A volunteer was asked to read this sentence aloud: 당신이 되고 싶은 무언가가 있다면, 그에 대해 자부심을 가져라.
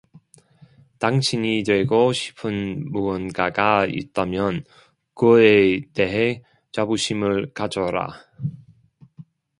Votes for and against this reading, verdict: 1, 2, rejected